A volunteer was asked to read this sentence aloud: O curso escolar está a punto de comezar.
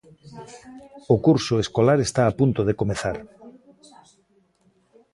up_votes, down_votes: 2, 1